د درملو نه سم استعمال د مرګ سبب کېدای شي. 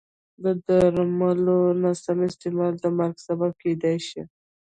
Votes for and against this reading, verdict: 1, 2, rejected